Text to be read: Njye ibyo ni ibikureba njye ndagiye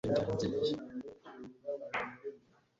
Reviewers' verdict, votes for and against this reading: rejected, 1, 2